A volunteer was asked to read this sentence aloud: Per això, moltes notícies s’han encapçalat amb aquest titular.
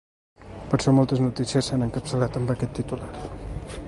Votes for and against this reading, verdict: 0, 2, rejected